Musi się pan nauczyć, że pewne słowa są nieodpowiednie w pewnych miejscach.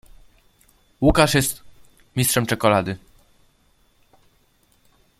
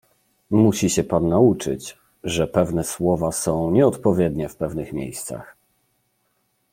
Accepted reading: second